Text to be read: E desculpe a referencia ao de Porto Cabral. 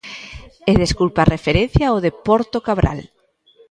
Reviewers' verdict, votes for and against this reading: accepted, 2, 1